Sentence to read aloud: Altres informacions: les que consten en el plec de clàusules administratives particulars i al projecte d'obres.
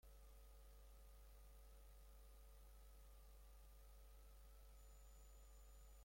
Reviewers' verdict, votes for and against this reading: rejected, 0, 3